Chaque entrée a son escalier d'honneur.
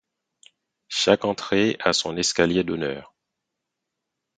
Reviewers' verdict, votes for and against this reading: accepted, 4, 0